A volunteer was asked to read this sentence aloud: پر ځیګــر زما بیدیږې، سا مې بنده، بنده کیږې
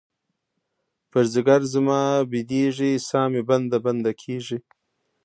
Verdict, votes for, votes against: rejected, 1, 2